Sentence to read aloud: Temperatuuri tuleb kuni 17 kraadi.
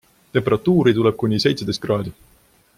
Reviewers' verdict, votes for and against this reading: rejected, 0, 2